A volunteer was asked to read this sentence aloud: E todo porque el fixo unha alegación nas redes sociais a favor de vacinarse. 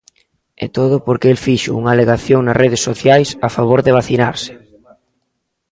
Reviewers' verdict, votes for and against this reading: rejected, 1, 2